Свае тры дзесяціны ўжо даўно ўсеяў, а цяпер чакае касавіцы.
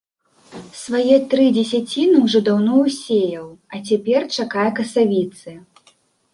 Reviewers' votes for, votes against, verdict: 2, 0, accepted